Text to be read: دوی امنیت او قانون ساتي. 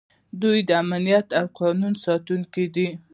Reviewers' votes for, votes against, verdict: 0, 2, rejected